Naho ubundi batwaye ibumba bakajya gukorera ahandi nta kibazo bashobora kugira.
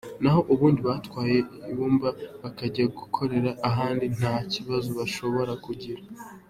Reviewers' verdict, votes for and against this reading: accepted, 2, 0